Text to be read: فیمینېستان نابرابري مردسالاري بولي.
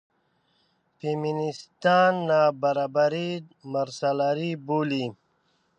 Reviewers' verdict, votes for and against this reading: rejected, 1, 2